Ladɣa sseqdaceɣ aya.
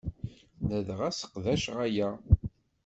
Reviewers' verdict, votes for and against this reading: accepted, 2, 0